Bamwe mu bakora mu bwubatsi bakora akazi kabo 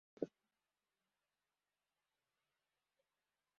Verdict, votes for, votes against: rejected, 0, 2